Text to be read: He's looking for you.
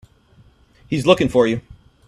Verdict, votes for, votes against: accepted, 3, 0